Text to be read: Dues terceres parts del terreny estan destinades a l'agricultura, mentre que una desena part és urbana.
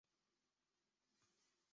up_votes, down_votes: 0, 2